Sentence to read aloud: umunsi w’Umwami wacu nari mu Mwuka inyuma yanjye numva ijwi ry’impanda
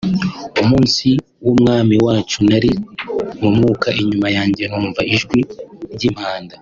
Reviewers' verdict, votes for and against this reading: accepted, 2, 0